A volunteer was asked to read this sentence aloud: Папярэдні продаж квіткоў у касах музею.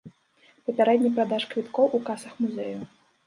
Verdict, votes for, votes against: rejected, 1, 2